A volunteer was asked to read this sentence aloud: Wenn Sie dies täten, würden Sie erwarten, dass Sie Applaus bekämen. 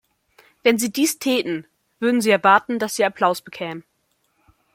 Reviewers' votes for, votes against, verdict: 2, 0, accepted